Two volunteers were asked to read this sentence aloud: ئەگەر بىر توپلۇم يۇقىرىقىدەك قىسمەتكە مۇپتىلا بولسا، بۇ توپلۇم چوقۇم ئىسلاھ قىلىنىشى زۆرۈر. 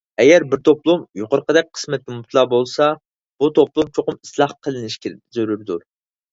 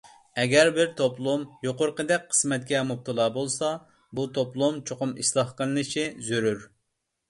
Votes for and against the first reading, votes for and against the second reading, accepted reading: 0, 4, 2, 0, second